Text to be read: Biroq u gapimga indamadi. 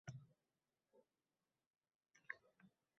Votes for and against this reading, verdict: 0, 2, rejected